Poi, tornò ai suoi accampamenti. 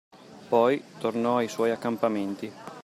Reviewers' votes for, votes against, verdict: 2, 0, accepted